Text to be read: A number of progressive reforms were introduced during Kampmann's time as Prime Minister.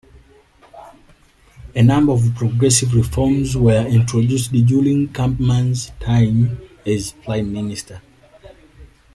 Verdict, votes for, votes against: rejected, 1, 2